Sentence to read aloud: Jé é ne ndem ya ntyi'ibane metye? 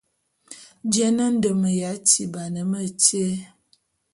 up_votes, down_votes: 0, 2